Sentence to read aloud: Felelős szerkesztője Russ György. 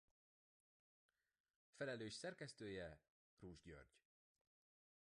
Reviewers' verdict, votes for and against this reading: rejected, 0, 2